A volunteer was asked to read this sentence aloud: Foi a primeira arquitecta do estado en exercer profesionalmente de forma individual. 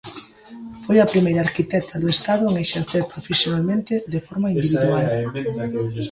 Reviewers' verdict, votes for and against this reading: rejected, 0, 2